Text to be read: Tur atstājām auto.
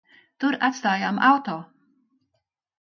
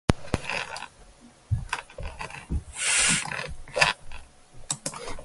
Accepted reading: first